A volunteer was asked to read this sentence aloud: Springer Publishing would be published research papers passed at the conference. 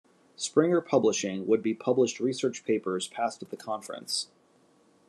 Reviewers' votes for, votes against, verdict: 2, 0, accepted